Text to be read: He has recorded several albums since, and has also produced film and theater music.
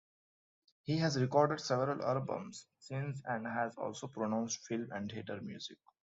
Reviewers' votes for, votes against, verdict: 1, 2, rejected